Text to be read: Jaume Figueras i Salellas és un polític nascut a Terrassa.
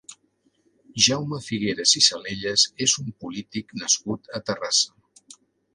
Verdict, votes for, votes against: accepted, 2, 0